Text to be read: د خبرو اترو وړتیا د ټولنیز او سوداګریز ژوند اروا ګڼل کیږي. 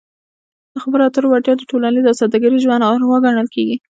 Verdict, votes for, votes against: rejected, 1, 2